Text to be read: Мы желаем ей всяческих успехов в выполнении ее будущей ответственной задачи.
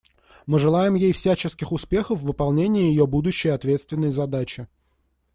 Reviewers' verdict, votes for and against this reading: accepted, 2, 0